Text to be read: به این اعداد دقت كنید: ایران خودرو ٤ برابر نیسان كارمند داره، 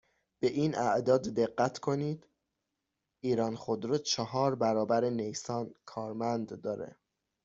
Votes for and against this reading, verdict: 0, 2, rejected